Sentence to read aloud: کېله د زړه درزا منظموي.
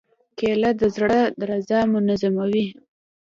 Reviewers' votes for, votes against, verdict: 2, 0, accepted